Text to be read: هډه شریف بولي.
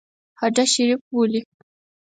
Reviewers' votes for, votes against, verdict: 4, 0, accepted